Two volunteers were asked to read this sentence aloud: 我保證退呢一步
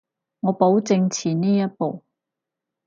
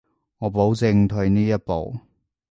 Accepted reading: second